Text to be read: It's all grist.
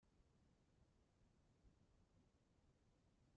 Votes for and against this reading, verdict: 0, 2, rejected